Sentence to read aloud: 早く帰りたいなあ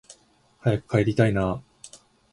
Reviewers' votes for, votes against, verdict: 2, 0, accepted